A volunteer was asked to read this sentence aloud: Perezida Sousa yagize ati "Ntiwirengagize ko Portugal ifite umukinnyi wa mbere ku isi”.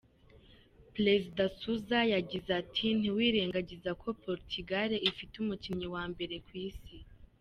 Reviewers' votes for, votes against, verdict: 2, 0, accepted